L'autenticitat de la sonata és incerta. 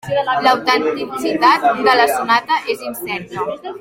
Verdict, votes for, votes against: rejected, 0, 2